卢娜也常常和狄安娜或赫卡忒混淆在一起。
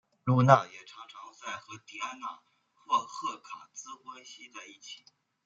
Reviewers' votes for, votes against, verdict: 0, 2, rejected